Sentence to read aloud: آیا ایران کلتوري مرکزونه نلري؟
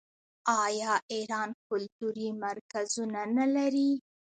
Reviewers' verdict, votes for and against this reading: accepted, 2, 1